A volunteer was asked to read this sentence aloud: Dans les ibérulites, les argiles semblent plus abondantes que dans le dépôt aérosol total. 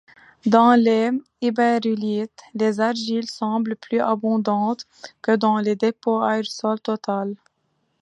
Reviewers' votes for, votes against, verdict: 0, 3, rejected